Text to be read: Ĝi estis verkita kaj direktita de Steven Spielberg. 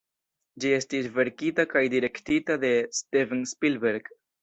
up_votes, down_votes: 2, 0